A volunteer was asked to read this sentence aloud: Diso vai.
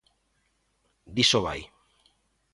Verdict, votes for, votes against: accepted, 3, 0